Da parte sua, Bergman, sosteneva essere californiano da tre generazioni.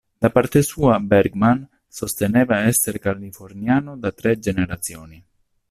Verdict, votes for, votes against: accepted, 2, 0